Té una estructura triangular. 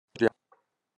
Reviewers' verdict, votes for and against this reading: rejected, 0, 2